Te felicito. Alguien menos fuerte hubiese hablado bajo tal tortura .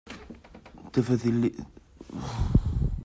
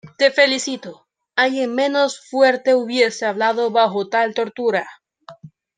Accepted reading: second